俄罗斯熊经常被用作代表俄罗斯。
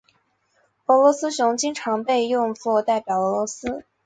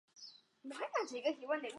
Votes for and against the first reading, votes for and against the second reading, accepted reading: 4, 2, 0, 2, first